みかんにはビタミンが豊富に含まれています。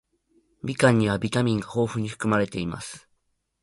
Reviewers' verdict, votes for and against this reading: accepted, 2, 0